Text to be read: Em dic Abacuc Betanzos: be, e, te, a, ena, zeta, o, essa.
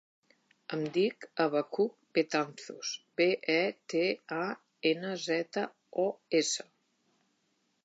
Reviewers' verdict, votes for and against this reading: accepted, 2, 0